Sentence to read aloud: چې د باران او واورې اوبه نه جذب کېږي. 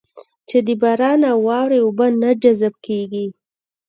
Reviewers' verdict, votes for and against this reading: rejected, 0, 2